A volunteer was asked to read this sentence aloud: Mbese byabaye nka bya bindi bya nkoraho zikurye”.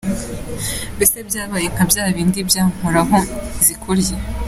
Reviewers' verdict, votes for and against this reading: rejected, 1, 2